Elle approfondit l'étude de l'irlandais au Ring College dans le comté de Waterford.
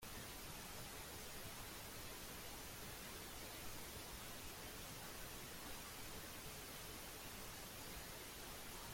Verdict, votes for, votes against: rejected, 0, 2